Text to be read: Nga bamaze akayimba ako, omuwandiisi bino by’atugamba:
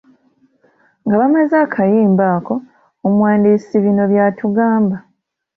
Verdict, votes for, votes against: accepted, 2, 0